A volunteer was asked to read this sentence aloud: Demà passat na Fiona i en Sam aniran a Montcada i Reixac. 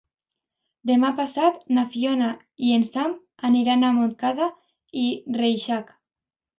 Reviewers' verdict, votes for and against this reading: accepted, 2, 0